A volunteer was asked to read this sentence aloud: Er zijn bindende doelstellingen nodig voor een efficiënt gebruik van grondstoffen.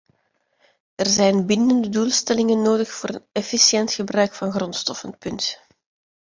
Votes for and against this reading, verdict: 0, 2, rejected